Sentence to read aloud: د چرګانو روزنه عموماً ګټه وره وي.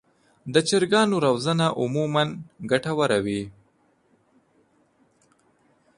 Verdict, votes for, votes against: accepted, 2, 0